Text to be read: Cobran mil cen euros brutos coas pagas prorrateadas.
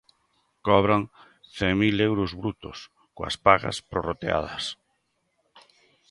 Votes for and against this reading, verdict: 2, 0, accepted